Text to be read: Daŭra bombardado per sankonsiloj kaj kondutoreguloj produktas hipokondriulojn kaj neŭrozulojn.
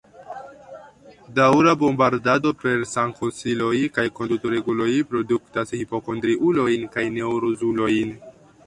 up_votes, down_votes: 1, 2